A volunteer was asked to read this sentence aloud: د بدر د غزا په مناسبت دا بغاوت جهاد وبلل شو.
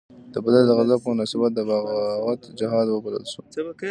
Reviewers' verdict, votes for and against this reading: accepted, 2, 0